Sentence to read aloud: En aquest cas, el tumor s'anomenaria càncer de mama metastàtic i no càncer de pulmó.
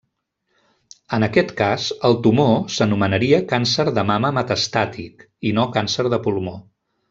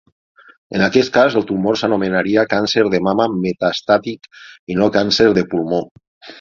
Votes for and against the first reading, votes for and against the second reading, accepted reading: 0, 2, 6, 0, second